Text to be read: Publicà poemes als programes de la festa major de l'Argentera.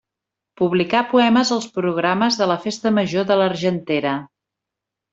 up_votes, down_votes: 3, 0